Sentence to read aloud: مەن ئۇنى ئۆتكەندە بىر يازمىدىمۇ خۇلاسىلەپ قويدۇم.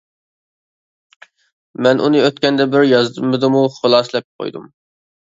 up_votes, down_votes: 0, 2